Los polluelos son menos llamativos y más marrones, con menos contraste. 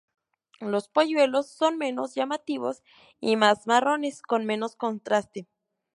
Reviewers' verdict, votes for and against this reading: accepted, 2, 0